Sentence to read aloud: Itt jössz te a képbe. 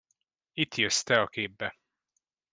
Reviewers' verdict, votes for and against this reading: accepted, 2, 0